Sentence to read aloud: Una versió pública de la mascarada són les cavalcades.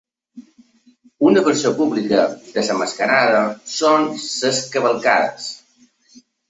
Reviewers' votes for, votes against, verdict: 1, 2, rejected